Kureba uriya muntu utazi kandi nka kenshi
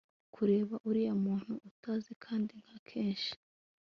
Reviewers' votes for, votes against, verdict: 2, 0, accepted